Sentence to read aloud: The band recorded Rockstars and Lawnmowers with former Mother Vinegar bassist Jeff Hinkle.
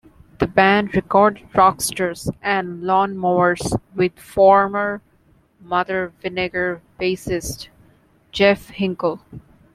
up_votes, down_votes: 2, 0